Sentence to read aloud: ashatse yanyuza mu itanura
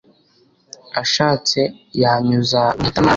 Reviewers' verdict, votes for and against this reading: rejected, 0, 2